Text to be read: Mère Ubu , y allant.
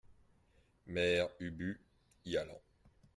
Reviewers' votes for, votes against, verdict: 2, 0, accepted